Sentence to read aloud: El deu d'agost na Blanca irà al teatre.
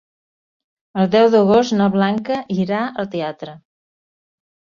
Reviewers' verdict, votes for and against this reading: accepted, 3, 0